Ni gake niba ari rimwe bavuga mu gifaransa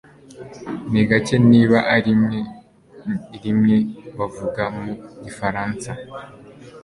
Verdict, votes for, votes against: rejected, 1, 2